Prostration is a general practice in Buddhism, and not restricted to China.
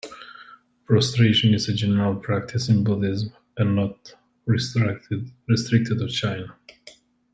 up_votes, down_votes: 1, 2